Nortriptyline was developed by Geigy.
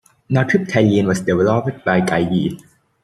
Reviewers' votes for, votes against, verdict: 0, 2, rejected